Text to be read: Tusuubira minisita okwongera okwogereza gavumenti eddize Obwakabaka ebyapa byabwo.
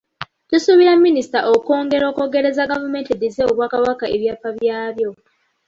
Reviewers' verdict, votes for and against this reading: accepted, 2, 0